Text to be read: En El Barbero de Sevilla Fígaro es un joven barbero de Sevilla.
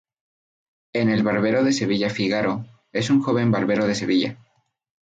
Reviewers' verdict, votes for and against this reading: accepted, 2, 0